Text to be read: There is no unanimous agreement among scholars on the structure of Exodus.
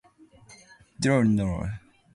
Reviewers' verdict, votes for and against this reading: rejected, 0, 2